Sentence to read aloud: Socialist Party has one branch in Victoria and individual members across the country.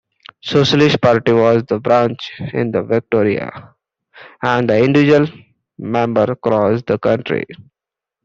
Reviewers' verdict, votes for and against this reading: rejected, 1, 2